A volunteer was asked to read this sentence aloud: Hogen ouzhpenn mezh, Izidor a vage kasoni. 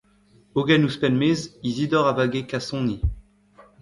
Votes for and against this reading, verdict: 1, 2, rejected